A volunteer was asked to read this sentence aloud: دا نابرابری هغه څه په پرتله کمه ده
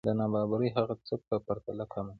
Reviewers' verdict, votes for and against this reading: rejected, 0, 2